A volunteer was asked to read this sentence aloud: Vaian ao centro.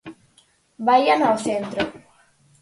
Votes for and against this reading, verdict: 4, 0, accepted